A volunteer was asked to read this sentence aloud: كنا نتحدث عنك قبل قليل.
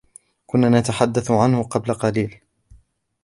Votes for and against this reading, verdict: 2, 1, accepted